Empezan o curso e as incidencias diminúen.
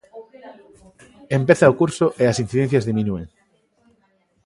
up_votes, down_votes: 0, 2